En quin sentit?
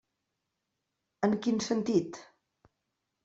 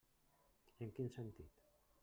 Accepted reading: first